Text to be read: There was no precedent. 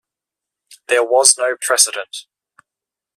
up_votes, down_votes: 2, 0